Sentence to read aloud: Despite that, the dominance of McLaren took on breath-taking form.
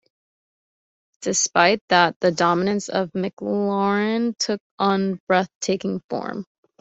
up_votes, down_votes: 2, 0